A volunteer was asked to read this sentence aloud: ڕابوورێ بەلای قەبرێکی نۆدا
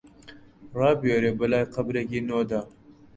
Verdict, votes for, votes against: rejected, 0, 2